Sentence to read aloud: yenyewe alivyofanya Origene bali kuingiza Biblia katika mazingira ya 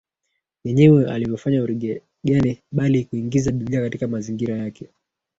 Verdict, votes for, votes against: rejected, 1, 2